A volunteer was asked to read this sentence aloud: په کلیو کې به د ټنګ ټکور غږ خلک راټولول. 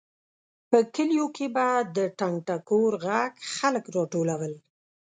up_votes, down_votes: 2, 0